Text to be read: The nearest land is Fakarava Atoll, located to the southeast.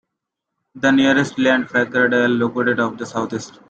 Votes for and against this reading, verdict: 0, 2, rejected